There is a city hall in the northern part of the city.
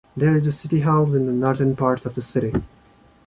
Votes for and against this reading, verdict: 2, 1, accepted